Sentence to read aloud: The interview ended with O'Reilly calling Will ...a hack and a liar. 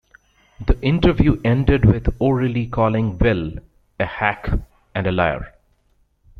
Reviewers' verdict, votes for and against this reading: rejected, 1, 2